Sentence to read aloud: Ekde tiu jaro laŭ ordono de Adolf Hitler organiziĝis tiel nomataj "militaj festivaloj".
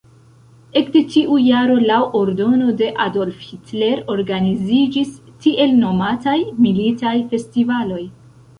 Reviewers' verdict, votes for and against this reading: rejected, 1, 2